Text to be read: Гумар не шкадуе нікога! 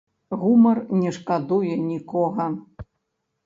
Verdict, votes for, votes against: accepted, 2, 0